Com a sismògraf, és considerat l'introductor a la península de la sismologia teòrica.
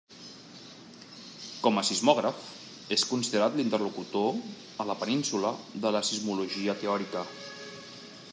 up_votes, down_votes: 0, 2